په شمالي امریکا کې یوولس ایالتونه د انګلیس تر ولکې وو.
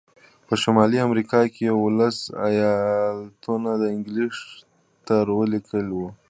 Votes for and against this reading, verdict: 0, 2, rejected